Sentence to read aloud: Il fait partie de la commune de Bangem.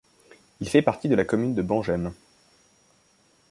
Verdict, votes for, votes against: accepted, 2, 0